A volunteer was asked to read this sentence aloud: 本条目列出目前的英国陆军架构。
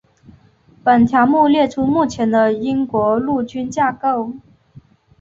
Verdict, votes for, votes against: accepted, 3, 0